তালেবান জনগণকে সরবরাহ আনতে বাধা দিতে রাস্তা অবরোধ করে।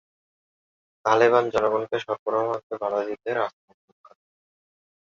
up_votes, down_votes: 1, 3